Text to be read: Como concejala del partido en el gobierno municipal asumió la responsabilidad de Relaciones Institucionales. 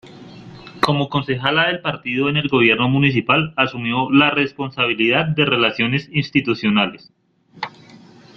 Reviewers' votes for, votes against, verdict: 2, 0, accepted